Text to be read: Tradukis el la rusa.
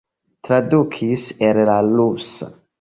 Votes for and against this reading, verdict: 3, 0, accepted